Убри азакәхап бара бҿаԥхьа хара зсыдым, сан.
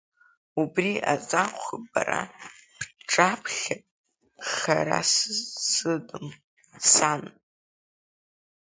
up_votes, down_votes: 2, 0